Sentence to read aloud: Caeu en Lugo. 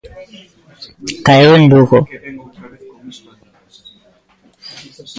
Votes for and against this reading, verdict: 1, 2, rejected